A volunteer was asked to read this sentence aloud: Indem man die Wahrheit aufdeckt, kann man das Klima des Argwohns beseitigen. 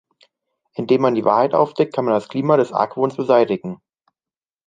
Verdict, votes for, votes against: accepted, 2, 0